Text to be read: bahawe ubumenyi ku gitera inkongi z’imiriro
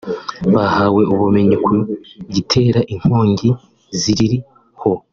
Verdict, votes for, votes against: rejected, 0, 2